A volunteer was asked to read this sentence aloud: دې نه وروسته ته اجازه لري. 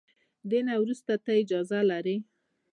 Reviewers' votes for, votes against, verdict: 2, 0, accepted